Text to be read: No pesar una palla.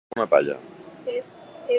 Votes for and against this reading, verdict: 1, 2, rejected